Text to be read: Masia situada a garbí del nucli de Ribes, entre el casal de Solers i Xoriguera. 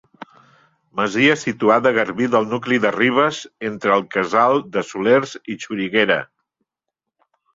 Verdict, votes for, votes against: accepted, 2, 0